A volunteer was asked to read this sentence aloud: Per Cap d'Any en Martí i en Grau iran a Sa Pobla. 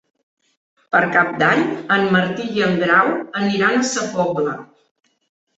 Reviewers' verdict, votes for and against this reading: rejected, 1, 2